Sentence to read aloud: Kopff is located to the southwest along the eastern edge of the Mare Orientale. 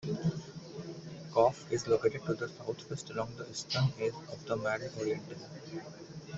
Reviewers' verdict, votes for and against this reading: rejected, 1, 2